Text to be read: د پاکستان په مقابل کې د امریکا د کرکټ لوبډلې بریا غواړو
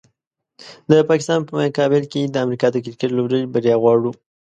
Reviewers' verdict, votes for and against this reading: accepted, 2, 1